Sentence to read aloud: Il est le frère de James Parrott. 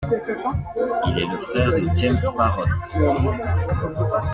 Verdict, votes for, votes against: rejected, 0, 2